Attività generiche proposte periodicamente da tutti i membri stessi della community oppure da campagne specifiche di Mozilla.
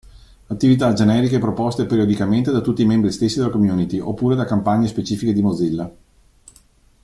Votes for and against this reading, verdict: 2, 0, accepted